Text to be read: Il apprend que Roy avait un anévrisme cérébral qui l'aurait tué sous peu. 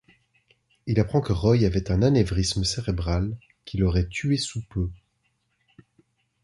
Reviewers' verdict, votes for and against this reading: accepted, 2, 0